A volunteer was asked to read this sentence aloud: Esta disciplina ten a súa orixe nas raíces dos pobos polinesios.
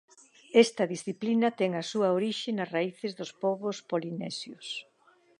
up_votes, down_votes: 2, 0